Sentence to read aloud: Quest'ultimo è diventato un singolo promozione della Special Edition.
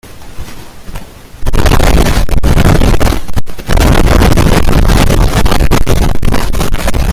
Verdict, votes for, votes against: rejected, 0, 2